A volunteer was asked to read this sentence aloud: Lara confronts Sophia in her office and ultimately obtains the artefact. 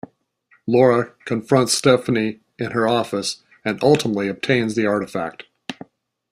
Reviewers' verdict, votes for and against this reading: rejected, 1, 2